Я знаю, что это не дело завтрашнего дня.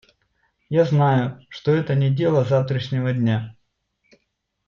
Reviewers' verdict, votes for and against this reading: accepted, 2, 0